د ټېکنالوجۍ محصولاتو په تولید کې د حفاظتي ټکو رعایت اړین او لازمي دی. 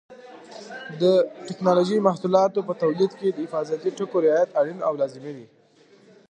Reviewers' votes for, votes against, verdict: 2, 0, accepted